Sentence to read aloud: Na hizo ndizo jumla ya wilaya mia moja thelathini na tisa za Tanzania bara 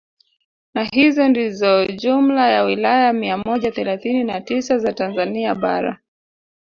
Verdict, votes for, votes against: rejected, 0, 2